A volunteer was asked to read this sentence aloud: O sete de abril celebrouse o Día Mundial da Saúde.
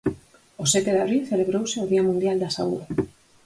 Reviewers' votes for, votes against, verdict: 4, 2, accepted